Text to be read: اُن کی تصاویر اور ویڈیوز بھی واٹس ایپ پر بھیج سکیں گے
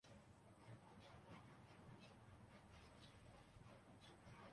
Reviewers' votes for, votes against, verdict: 1, 2, rejected